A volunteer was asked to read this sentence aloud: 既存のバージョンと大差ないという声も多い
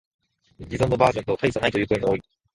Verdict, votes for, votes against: rejected, 0, 2